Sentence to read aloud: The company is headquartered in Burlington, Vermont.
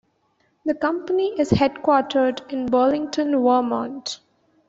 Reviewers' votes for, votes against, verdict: 1, 2, rejected